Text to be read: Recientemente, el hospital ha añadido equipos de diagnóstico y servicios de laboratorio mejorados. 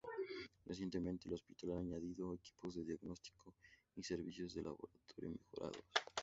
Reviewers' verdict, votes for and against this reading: rejected, 2, 2